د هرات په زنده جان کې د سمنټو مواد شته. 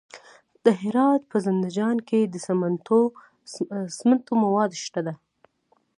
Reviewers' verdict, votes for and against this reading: rejected, 1, 2